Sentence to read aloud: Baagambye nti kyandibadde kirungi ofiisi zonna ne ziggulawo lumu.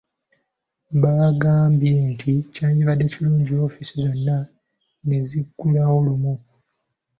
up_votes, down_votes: 2, 0